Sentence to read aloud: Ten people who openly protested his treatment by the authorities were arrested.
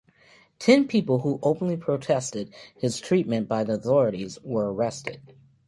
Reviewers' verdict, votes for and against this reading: accepted, 2, 0